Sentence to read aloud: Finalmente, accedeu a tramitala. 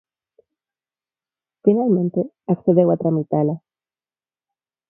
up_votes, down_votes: 0, 4